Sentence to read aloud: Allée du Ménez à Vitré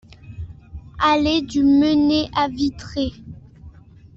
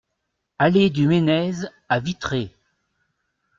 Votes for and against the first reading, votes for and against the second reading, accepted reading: 1, 2, 2, 0, second